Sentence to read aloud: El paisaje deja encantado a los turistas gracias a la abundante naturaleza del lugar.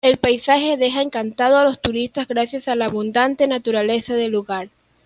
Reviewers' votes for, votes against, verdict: 0, 2, rejected